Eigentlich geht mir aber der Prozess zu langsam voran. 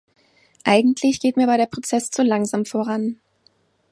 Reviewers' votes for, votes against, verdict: 2, 0, accepted